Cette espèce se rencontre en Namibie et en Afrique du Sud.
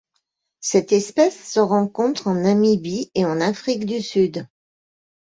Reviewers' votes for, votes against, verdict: 2, 0, accepted